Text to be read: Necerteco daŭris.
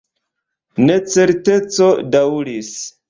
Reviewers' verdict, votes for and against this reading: accepted, 2, 0